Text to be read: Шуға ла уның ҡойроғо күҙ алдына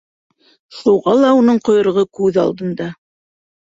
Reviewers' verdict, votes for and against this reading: rejected, 1, 2